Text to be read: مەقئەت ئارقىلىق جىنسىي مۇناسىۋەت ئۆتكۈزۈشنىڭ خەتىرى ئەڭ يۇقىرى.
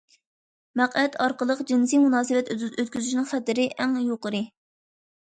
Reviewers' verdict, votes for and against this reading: rejected, 1, 2